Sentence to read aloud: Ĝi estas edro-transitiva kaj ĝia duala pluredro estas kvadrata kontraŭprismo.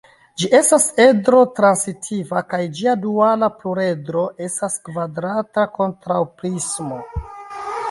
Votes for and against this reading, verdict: 2, 1, accepted